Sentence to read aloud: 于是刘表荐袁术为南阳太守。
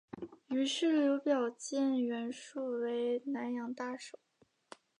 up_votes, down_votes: 2, 0